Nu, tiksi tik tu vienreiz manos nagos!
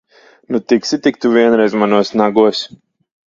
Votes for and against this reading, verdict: 2, 0, accepted